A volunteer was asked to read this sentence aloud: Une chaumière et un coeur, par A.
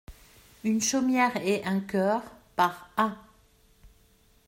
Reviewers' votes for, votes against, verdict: 2, 0, accepted